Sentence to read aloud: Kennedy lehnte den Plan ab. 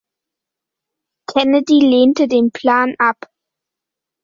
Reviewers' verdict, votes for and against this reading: accepted, 2, 0